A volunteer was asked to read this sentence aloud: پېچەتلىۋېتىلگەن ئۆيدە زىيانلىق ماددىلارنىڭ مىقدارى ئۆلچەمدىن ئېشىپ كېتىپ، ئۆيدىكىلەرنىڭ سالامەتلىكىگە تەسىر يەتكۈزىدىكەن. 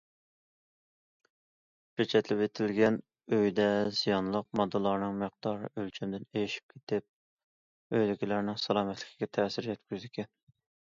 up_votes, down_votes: 2, 1